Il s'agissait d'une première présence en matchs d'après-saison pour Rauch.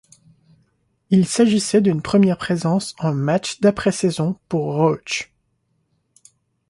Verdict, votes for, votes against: accepted, 2, 0